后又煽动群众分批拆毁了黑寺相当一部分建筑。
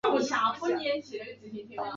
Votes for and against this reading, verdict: 0, 5, rejected